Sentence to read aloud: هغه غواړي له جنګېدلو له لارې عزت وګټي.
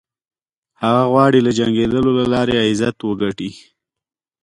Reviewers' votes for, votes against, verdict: 2, 0, accepted